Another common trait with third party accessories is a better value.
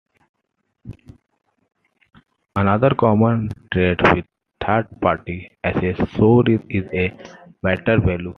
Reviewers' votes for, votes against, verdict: 0, 2, rejected